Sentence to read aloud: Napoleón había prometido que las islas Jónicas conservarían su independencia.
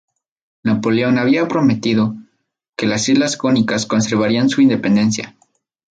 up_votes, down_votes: 0, 2